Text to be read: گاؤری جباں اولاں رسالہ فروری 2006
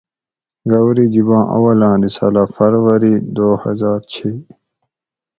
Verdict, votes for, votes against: rejected, 0, 2